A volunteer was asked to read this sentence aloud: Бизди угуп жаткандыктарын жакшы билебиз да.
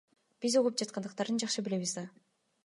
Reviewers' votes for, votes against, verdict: 2, 0, accepted